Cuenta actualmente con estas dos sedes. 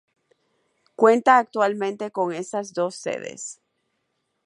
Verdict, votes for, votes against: accepted, 2, 0